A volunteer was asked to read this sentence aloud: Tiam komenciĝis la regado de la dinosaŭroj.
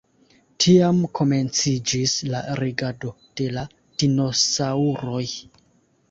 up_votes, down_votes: 2, 0